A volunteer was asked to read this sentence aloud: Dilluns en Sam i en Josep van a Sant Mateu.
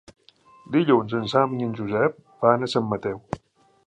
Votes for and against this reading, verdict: 0, 3, rejected